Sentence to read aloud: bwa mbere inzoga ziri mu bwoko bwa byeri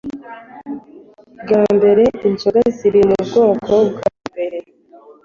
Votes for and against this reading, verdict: 4, 0, accepted